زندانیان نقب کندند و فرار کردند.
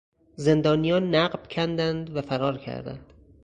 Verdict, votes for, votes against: accepted, 4, 0